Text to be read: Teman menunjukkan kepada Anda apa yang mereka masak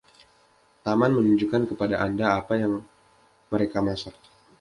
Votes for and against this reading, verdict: 1, 2, rejected